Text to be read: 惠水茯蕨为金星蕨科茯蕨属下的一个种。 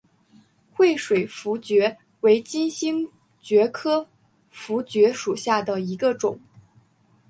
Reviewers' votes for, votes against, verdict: 4, 0, accepted